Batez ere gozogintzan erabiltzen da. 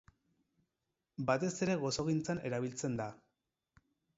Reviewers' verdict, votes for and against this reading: rejected, 0, 4